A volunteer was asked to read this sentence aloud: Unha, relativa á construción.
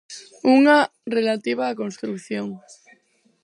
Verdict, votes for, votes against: rejected, 0, 4